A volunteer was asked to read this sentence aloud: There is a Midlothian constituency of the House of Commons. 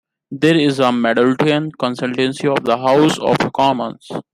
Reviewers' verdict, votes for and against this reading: rejected, 1, 2